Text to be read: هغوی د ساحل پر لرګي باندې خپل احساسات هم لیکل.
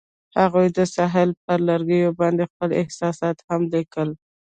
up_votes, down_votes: 2, 0